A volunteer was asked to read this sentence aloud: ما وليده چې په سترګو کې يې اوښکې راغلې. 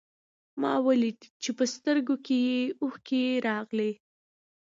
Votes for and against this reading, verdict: 2, 0, accepted